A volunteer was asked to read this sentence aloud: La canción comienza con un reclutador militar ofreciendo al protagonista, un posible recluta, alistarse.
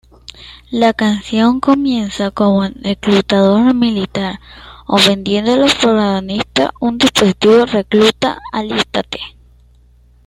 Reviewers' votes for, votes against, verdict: 2, 0, accepted